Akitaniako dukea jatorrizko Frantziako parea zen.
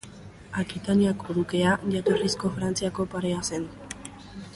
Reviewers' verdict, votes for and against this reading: accepted, 3, 1